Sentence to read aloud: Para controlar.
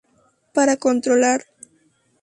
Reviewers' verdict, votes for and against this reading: accepted, 2, 0